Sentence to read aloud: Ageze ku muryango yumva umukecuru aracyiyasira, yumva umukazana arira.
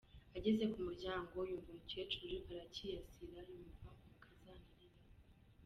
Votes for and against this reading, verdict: 1, 3, rejected